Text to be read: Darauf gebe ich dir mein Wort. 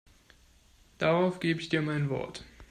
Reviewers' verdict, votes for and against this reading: accepted, 2, 0